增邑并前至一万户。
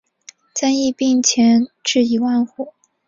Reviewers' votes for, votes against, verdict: 5, 0, accepted